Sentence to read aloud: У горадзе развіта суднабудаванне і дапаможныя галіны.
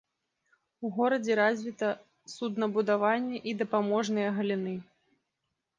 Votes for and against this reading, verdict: 2, 0, accepted